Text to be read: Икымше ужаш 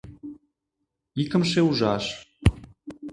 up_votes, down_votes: 2, 0